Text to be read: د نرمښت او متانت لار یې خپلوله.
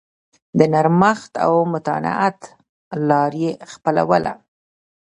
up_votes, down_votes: 0, 2